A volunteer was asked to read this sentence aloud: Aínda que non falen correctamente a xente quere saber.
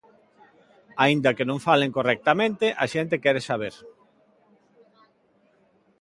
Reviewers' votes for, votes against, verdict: 2, 0, accepted